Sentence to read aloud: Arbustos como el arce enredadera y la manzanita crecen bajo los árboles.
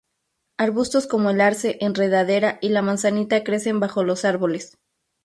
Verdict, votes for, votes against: rejected, 0, 2